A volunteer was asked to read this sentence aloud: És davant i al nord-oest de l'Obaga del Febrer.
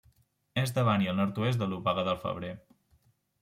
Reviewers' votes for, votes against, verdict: 2, 0, accepted